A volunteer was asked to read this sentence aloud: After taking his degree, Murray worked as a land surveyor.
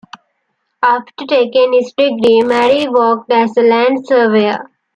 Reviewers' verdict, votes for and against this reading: accepted, 2, 1